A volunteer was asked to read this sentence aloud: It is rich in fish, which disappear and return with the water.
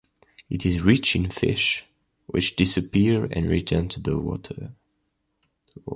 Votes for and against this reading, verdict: 1, 2, rejected